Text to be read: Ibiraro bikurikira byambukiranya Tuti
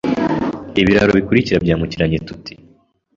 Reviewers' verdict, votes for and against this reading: rejected, 0, 2